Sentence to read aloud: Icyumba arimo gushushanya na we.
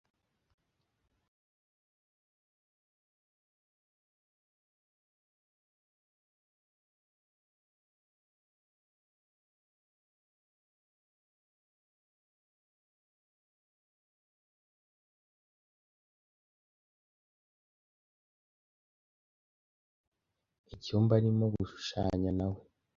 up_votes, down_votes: 1, 2